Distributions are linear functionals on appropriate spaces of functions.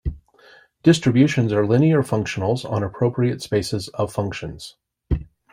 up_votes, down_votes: 3, 0